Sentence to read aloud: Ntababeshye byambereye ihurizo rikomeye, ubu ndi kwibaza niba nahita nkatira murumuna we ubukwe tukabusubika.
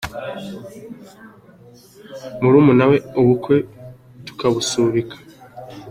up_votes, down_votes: 1, 2